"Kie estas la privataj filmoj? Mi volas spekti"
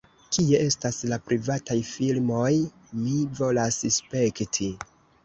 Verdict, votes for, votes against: rejected, 0, 2